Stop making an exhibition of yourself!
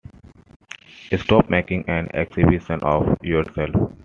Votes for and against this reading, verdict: 2, 0, accepted